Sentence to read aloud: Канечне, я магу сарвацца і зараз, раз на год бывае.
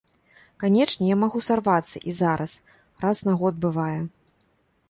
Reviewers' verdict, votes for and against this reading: accepted, 2, 0